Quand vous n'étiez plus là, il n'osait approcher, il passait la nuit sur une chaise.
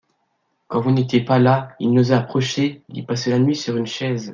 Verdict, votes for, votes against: rejected, 1, 2